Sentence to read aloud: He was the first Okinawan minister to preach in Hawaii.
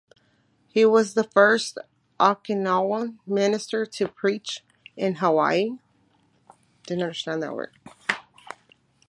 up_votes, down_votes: 0, 2